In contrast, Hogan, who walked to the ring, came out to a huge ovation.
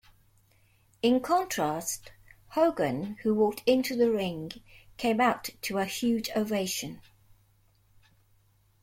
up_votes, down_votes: 0, 2